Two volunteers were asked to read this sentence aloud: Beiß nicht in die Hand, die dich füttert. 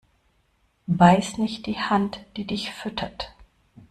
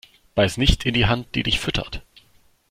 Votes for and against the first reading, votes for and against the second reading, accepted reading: 0, 2, 2, 0, second